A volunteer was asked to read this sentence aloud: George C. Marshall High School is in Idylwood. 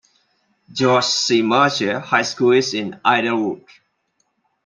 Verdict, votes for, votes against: accepted, 2, 0